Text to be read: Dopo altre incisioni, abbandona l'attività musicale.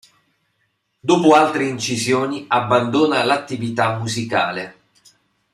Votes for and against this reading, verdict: 2, 0, accepted